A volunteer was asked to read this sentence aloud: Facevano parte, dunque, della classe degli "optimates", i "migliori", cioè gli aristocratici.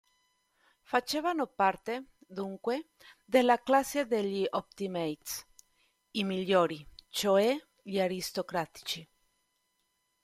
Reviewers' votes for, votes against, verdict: 2, 1, accepted